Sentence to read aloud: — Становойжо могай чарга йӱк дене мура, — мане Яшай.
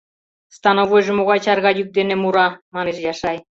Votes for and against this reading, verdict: 0, 2, rejected